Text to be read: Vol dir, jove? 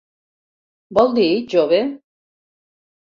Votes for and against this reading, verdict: 4, 0, accepted